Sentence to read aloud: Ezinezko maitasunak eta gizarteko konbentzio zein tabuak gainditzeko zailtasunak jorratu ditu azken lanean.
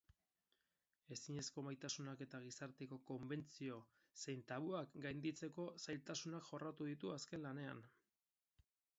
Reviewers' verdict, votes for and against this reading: rejected, 2, 2